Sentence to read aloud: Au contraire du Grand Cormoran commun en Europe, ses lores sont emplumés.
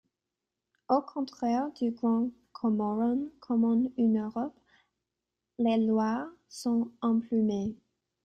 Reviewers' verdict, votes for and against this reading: rejected, 0, 2